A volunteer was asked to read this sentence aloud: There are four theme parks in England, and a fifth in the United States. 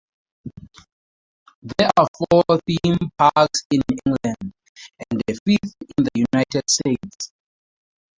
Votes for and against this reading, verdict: 0, 4, rejected